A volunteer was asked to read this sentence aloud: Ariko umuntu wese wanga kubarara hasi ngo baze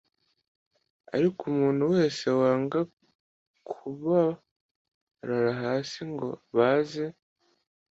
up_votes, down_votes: 2, 0